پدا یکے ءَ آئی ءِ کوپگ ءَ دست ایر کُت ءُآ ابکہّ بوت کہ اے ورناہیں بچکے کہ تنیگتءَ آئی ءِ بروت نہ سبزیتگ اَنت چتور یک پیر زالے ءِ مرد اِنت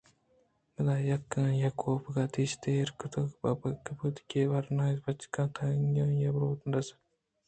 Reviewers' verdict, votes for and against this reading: rejected, 0, 3